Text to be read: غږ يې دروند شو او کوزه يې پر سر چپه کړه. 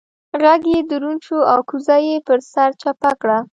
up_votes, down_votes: 2, 0